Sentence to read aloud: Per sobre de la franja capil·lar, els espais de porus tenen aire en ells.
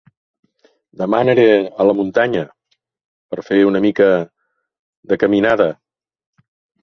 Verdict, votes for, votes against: rejected, 0, 2